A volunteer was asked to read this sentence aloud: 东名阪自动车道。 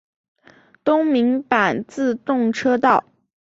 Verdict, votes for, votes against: accepted, 2, 0